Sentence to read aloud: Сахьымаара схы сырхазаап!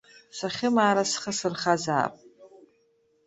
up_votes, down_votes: 2, 0